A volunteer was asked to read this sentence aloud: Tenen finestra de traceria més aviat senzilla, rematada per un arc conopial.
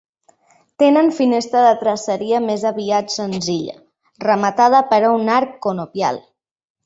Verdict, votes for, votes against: accepted, 2, 0